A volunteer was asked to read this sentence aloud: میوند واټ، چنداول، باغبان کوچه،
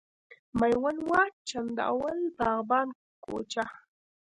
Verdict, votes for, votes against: rejected, 0, 2